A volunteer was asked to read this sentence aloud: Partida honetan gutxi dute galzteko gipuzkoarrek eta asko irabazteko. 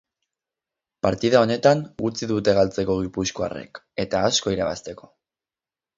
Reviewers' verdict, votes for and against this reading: rejected, 2, 4